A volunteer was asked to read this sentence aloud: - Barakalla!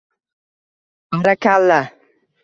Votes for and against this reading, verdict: 1, 2, rejected